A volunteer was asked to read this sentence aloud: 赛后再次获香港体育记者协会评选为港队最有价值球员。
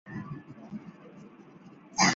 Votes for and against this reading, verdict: 0, 2, rejected